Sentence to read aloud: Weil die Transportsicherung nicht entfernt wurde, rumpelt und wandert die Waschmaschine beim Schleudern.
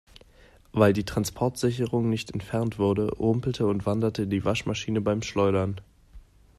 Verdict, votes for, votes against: rejected, 1, 2